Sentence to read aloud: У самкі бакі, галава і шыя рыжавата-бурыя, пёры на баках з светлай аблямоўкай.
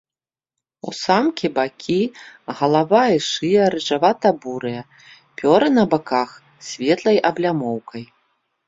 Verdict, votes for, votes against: accepted, 2, 0